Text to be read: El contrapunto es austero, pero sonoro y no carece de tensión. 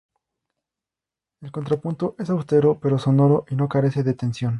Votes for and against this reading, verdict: 2, 0, accepted